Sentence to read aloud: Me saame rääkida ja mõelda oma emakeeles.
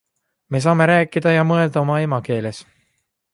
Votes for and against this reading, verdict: 2, 0, accepted